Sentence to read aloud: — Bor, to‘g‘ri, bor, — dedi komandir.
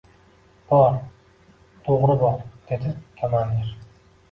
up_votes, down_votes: 1, 2